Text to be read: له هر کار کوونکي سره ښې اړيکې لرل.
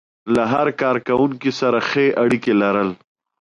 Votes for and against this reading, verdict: 2, 0, accepted